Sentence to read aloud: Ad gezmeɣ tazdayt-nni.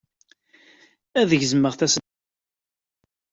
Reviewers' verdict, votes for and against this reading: rejected, 0, 2